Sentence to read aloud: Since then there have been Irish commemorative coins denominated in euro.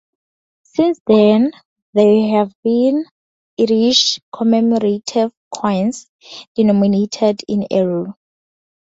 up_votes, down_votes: 0, 2